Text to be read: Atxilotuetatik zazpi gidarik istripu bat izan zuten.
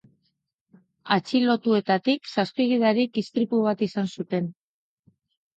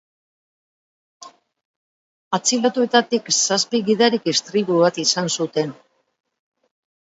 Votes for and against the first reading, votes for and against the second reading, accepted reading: 3, 0, 1, 3, first